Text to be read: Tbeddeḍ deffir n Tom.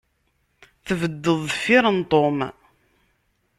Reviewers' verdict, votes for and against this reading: accepted, 2, 0